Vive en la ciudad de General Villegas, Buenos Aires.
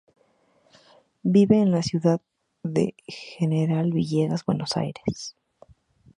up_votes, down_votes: 0, 2